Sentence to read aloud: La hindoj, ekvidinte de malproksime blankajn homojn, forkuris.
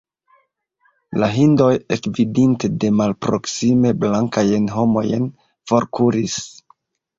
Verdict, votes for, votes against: rejected, 1, 2